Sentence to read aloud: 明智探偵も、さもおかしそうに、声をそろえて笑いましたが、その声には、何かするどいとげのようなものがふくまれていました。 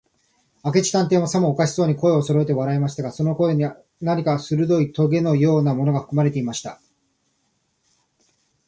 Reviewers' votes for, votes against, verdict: 15, 5, accepted